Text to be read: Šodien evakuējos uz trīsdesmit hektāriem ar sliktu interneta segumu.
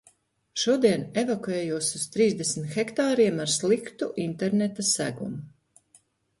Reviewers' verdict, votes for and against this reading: accepted, 2, 1